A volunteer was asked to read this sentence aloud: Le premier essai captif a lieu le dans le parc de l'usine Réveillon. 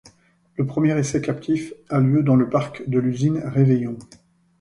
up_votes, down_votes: 1, 2